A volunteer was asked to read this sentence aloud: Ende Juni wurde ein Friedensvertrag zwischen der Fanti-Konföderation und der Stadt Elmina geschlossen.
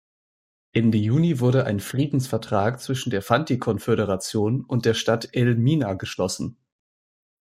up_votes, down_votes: 2, 0